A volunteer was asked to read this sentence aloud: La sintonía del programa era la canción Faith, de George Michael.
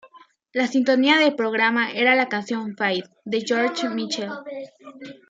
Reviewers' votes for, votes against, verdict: 1, 2, rejected